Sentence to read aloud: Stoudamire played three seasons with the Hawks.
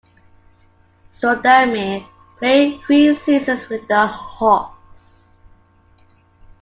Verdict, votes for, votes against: accepted, 2, 1